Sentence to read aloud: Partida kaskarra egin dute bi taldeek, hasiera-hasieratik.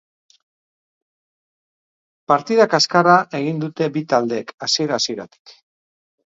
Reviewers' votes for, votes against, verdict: 6, 0, accepted